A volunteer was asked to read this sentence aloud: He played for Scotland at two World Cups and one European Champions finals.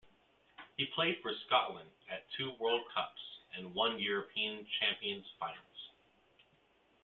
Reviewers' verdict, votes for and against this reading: accepted, 2, 0